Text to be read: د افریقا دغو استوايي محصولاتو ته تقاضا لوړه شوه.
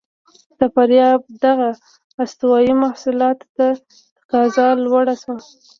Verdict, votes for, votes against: accepted, 2, 0